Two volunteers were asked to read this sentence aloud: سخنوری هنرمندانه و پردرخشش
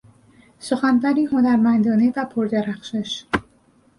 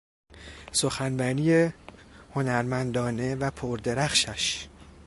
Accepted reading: first